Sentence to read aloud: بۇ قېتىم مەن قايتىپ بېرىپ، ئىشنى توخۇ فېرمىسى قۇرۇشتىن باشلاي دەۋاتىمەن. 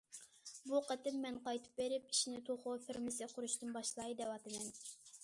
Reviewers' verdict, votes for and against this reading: accepted, 2, 0